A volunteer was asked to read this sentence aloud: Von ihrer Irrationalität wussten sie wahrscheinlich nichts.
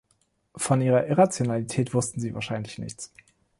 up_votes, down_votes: 2, 0